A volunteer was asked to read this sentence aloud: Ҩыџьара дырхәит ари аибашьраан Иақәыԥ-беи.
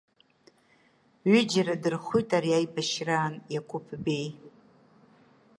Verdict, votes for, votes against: rejected, 0, 2